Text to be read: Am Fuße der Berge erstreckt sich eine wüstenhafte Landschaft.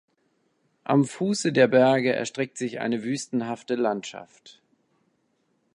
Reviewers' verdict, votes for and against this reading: rejected, 1, 2